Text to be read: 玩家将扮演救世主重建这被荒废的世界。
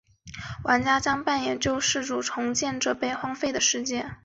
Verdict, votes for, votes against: accepted, 4, 0